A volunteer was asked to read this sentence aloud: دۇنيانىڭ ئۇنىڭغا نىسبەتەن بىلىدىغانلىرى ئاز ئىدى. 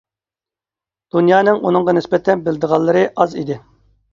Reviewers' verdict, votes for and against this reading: accepted, 2, 0